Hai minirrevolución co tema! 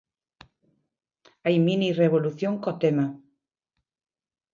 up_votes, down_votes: 2, 1